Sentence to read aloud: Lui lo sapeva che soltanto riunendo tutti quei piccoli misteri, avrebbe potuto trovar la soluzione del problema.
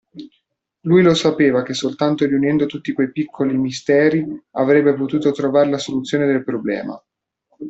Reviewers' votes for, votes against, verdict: 2, 0, accepted